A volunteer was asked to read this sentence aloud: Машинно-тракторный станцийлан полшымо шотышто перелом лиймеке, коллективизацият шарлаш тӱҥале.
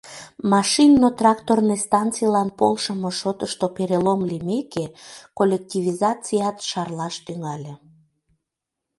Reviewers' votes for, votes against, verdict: 2, 0, accepted